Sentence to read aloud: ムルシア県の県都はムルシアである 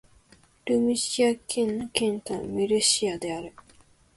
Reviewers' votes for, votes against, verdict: 2, 1, accepted